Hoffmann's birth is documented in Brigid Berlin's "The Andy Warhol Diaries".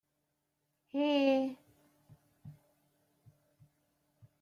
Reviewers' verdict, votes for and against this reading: rejected, 0, 2